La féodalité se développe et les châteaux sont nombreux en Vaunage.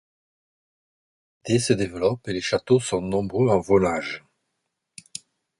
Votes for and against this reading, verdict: 1, 2, rejected